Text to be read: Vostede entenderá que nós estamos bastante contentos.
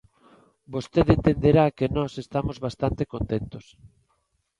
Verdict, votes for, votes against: accepted, 2, 0